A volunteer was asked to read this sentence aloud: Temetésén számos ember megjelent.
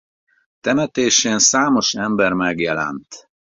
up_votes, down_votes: 4, 0